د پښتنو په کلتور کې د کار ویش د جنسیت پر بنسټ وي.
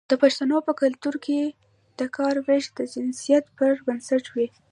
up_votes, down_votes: 1, 2